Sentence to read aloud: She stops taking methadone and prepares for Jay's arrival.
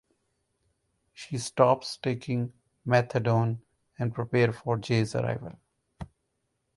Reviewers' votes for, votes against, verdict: 0, 2, rejected